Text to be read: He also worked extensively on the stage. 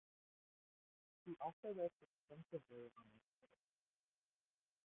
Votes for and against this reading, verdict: 0, 2, rejected